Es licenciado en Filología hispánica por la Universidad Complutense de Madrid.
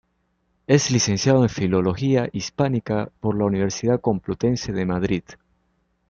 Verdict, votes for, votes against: rejected, 0, 2